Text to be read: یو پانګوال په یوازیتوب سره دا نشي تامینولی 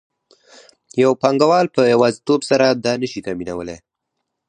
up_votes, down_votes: 4, 0